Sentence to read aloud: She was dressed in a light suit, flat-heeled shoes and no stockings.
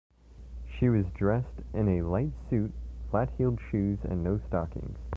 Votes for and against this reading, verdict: 2, 0, accepted